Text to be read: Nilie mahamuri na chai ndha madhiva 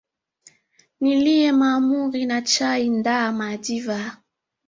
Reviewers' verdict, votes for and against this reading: accepted, 2, 1